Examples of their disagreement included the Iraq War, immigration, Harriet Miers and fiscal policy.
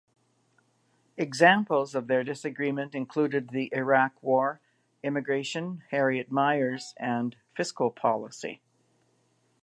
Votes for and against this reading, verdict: 3, 0, accepted